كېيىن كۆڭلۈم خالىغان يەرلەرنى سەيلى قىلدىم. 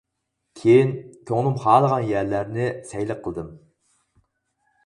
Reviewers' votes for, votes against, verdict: 2, 4, rejected